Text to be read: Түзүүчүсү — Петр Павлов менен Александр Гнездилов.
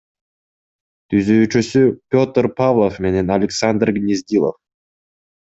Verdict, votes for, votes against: accepted, 2, 0